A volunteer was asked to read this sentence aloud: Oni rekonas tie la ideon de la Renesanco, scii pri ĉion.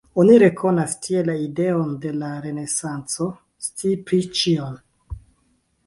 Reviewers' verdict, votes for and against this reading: rejected, 1, 2